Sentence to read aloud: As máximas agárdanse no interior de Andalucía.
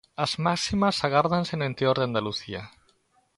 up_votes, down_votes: 1, 2